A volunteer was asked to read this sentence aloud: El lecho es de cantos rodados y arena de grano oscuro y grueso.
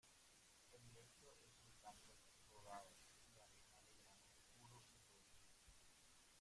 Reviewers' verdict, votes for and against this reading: rejected, 0, 2